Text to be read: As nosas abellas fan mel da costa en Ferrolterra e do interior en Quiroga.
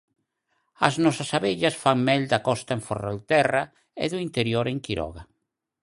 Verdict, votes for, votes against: accepted, 4, 2